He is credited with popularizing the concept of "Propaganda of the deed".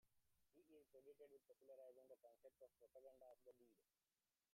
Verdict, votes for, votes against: rejected, 0, 2